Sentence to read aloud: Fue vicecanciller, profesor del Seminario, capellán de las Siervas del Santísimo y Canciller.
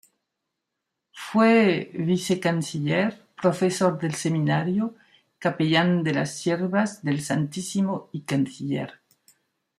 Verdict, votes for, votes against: accepted, 2, 1